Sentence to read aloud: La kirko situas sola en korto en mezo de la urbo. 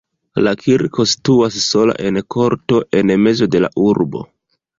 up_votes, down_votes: 1, 3